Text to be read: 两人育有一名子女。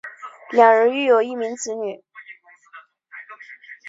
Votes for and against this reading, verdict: 2, 1, accepted